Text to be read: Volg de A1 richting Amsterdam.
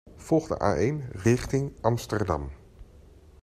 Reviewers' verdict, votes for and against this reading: rejected, 0, 2